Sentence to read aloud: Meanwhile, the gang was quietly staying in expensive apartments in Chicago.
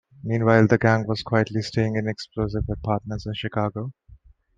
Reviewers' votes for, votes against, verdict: 1, 2, rejected